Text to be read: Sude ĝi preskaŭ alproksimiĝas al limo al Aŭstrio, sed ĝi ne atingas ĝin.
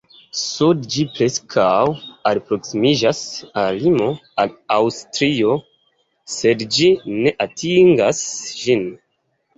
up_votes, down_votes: 0, 2